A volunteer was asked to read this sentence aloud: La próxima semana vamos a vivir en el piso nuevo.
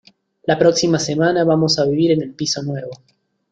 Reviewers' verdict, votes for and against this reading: accepted, 2, 0